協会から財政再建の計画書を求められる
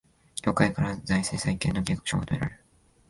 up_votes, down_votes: 0, 2